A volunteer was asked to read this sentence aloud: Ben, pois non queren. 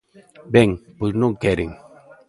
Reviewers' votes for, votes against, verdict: 1, 2, rejected